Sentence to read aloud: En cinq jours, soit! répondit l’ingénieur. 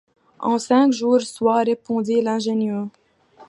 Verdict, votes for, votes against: rejected, 0, 2